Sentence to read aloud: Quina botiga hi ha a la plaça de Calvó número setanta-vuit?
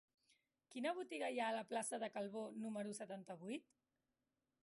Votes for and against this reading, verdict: 1, 2, rejected